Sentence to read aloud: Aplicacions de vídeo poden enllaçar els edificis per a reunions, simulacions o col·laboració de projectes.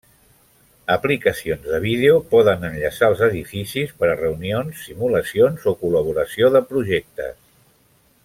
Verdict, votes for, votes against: accepted, 2, 0